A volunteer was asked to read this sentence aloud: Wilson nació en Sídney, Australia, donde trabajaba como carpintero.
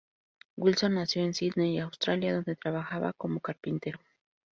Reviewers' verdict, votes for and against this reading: accepted, 2, 0